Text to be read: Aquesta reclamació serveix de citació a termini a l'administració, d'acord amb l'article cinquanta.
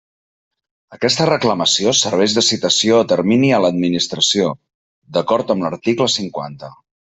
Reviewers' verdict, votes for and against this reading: accepted, 3, 0